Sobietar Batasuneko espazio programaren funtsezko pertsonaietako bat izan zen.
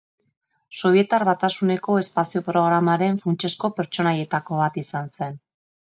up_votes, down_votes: 2, 0